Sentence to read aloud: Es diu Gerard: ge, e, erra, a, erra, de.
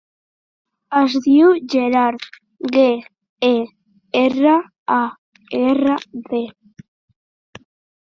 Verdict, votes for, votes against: rejected, 1, 2